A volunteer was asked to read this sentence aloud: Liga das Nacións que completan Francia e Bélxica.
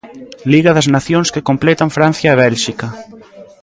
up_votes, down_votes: 0, 2